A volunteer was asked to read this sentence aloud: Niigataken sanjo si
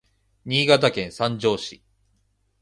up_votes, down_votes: 2, 0